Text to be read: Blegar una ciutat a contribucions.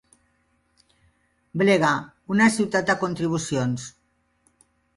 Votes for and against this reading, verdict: 2, 4, rejected